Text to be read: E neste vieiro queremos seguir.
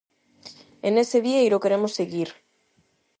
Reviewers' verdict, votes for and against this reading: rejected, 0, 8